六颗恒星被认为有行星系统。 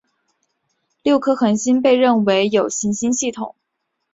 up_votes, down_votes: 2, 0